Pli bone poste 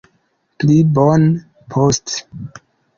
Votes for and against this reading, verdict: 2, 0, accepted